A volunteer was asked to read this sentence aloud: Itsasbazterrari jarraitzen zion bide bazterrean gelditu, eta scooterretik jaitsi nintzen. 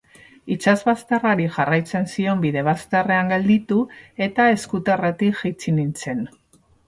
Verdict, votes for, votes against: rejected, 0, 2